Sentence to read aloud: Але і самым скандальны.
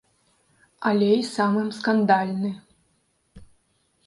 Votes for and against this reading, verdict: 2, 0, accepted